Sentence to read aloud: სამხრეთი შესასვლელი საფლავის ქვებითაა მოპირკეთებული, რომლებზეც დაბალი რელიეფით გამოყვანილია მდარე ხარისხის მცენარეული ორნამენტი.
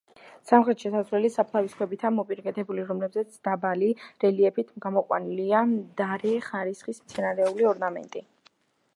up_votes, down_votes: 2, 0